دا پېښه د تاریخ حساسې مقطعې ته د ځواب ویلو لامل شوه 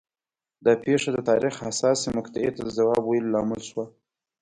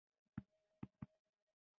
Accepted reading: first